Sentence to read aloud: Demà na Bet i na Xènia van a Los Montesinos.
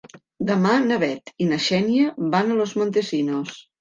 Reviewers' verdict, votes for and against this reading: accepted, 3, 0